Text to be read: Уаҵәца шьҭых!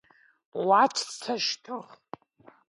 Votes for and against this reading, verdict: 1, 2, rejected